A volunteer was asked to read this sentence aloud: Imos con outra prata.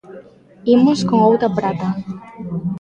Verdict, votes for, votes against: rejected, 0, 2